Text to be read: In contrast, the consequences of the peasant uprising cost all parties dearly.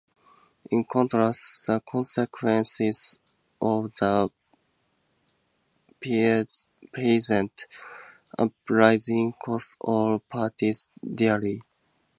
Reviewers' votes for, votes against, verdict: 2, 0, accepted